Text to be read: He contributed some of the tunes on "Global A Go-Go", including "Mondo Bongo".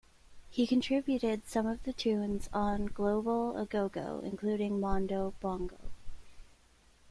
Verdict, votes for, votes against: accepted, 2, 0